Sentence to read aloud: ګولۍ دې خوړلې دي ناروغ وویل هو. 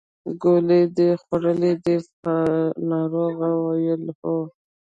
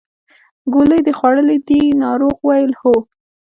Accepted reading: second